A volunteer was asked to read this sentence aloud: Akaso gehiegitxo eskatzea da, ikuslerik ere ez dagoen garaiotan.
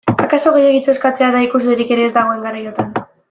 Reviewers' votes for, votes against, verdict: 0, 2, rejected